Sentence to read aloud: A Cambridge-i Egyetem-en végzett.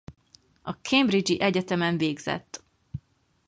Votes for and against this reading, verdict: 4, 0, accepted